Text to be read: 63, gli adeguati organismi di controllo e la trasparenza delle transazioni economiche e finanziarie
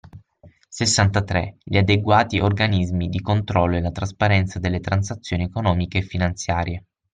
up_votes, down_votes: 0, 2